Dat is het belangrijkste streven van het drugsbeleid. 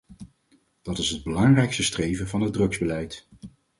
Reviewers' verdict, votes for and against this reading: accepted, 4, 0